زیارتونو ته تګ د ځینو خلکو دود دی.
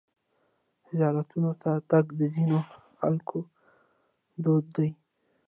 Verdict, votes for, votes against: rejected, 1, 2